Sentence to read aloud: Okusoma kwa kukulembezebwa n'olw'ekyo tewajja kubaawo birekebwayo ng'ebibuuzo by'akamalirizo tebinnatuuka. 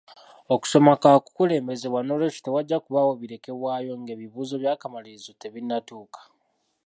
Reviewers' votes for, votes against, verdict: 1, 2, rejected